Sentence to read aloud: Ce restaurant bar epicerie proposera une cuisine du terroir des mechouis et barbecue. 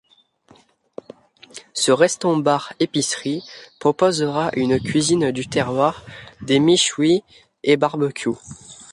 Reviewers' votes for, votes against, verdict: 2, 1, accepted